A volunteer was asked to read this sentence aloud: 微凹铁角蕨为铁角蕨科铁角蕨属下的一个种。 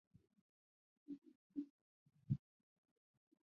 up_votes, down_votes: 2, 3